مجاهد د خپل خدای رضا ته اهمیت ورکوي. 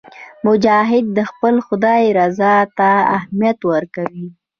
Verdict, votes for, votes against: accepted, 2, 1